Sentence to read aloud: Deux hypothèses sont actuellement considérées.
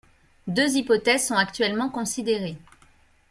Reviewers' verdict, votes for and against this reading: accepted, 2, 0